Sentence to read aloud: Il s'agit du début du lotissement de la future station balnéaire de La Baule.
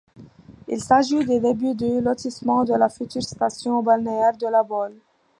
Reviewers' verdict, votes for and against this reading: accepted, 2, 0